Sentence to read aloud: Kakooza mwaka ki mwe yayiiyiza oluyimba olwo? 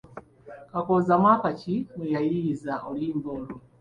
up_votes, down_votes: 2, 0